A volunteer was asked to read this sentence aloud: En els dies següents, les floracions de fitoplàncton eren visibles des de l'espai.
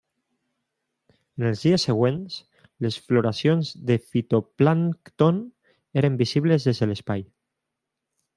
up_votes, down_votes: 0, 2